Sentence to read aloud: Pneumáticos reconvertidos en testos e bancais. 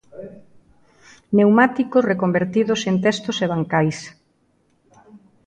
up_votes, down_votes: 2, 0